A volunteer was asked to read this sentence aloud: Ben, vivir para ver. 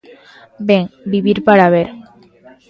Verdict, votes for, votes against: accepted, 2, 0